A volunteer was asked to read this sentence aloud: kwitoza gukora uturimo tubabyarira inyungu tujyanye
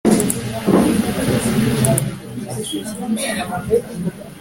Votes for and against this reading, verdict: 1, 3, rejected